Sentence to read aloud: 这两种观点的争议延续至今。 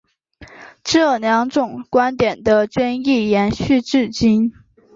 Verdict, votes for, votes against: accepted, 4, 0